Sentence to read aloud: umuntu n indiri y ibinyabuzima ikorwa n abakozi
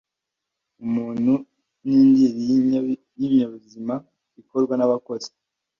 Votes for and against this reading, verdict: 1, 2, rejected